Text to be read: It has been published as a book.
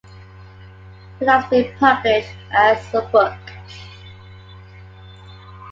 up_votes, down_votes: 2, 1